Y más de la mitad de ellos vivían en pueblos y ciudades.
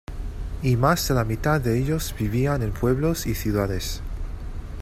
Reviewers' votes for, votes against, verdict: 2, 0, accepted